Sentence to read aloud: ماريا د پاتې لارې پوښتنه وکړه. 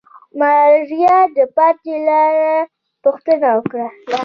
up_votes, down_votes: 0, 2